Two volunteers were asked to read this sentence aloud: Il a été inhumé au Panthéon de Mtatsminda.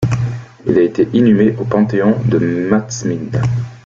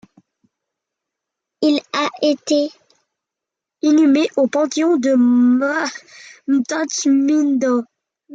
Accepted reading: first